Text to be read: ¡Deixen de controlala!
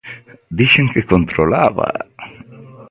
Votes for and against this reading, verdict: 0, 2, rejected